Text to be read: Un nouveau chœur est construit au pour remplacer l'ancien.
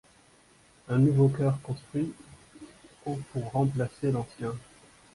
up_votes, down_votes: 1, 2